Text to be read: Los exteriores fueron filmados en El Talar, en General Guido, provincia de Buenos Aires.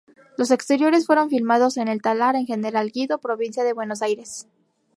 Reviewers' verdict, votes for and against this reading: accepted, 2, 0